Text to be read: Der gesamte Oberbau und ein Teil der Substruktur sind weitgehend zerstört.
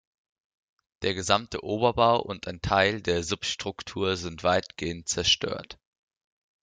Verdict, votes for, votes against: accepted, 2, 0